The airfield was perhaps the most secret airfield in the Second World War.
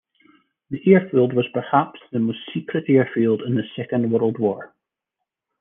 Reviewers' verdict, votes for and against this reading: rejected, 1, 2